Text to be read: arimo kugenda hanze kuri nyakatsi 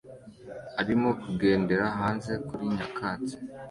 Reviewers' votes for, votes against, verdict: 2, 1, accepted